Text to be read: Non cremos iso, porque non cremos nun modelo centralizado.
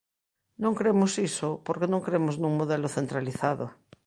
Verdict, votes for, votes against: accepted, 2, 0